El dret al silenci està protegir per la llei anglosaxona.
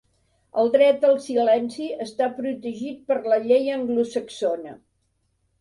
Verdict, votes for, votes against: rejected, 1, 2